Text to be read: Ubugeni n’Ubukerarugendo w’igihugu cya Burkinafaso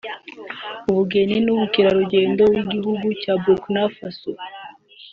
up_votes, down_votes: 3, 0